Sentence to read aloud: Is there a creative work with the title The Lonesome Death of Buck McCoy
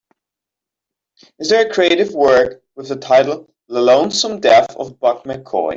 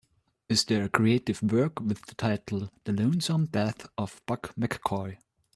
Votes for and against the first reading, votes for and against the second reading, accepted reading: 3, 0, 1, 2, first